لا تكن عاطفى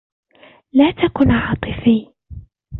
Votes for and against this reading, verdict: 2, 1, accepted